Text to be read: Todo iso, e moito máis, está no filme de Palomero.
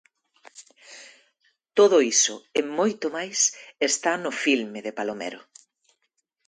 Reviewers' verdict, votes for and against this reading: accepted, 2, 0